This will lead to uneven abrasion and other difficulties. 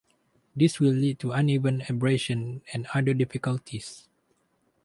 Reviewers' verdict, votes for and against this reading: accepted, 2, 0